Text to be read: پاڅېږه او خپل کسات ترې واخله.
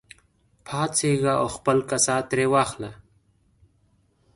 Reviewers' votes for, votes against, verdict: 2, 0, accepted